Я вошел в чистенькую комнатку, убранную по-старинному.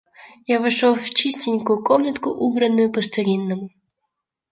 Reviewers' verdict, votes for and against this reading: accepted, 2, 1